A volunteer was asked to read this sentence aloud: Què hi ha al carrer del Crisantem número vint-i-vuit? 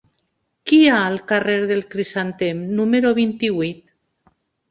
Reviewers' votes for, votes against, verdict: 0, 2, rejected